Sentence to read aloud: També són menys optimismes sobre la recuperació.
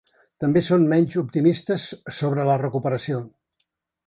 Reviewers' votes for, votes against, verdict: 1, 2, rejected